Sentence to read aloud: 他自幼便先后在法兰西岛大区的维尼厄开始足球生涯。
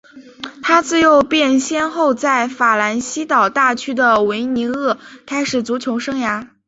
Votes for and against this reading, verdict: 2, 0, accepted